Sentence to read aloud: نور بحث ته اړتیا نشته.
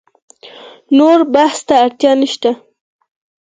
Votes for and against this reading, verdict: 4, 2, accepted